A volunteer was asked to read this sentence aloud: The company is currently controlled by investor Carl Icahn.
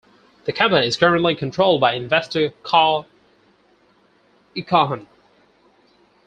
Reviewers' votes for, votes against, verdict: 0, 4, rejected